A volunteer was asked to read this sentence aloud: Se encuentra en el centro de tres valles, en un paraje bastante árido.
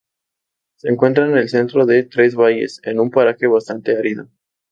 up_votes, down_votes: 4, 0